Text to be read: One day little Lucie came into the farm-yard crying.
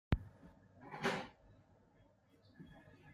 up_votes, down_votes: 0, 2